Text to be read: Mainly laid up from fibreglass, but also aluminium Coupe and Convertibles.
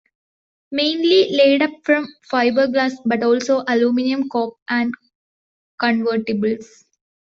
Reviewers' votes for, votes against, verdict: 1, 2, rejected